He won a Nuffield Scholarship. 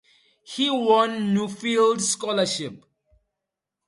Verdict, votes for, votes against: accepted, 4, 0